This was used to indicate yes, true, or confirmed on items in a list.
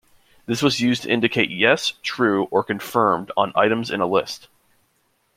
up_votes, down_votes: 2, 0